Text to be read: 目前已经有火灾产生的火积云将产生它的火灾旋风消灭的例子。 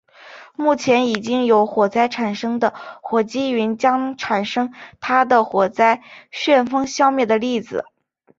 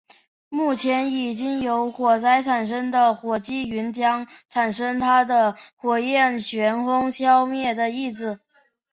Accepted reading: first